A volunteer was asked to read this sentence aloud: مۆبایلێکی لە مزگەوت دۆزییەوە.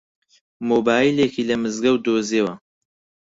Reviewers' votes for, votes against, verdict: 4, 0, accepted